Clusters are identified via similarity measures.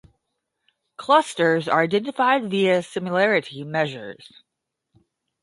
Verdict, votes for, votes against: accepted, 5, 0